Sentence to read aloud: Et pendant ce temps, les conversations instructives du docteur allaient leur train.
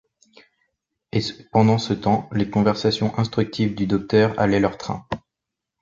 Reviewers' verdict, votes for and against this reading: rejected, 1, 2